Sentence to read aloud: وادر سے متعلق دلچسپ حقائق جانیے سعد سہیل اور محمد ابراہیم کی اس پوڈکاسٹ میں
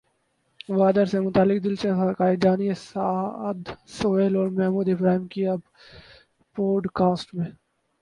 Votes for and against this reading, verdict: 2, 4, rejected